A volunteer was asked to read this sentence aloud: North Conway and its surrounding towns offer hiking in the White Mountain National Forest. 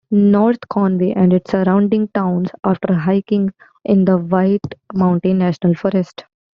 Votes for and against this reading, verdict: 2, 0, accepted